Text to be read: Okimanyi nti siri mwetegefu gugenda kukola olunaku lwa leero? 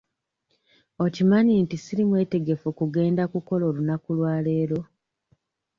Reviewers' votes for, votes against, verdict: 2, 0, accepted